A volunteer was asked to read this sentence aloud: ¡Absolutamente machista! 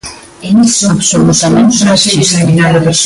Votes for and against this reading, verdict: 0, 2, rejected